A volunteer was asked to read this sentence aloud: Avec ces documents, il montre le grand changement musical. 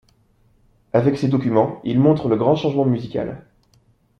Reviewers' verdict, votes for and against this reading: accepted, 2, 0